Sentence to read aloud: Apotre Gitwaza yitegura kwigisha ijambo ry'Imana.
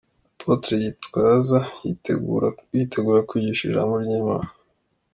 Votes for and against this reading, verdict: 1, 2, rejected